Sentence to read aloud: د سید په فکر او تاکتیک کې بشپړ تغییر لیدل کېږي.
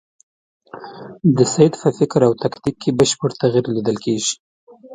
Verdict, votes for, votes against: rejected, 1, 2